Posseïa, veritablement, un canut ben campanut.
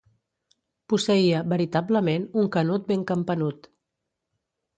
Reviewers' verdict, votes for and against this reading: accepted, 2, 0